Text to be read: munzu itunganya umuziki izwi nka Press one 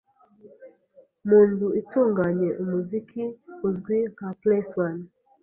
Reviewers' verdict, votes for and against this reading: rejected, 0, 2